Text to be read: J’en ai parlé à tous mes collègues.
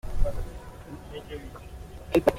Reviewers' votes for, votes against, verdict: 0, 2, rejected